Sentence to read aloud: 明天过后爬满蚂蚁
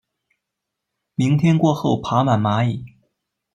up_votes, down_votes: 2, 0